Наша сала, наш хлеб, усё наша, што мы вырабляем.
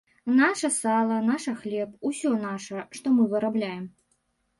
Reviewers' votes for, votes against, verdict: 1, 2, rejected